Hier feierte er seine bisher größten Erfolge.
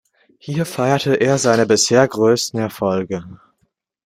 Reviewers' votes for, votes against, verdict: 2, 0, accepted